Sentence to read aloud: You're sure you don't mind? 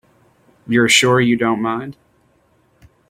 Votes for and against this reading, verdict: 3, 0, accepted